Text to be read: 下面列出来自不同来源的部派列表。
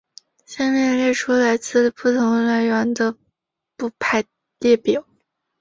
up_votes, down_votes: 1, 3